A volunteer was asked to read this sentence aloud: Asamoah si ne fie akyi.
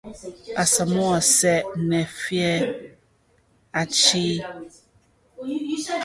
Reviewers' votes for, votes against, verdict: 0, 2, rejected